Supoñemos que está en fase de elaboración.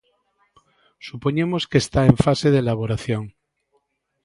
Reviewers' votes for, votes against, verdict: 2, 0, accepted